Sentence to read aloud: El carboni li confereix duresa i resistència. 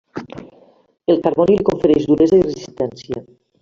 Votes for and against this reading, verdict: 0, 2, rejected